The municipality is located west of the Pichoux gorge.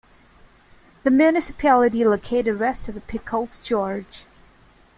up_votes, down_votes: 0, 2